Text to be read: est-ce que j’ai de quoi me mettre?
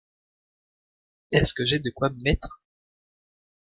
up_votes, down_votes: 2, 0